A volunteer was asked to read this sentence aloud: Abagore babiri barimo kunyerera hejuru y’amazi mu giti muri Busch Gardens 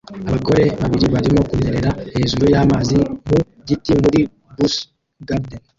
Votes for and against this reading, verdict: 0, 2, rejected